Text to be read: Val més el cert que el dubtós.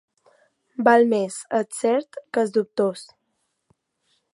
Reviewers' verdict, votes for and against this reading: accepted, 3, 2